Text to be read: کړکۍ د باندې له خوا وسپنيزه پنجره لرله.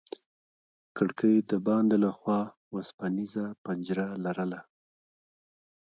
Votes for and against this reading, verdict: 0, 2, rejected